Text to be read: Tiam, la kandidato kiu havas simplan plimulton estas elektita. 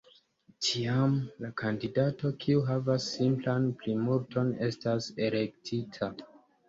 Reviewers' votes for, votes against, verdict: 2, 1, accepted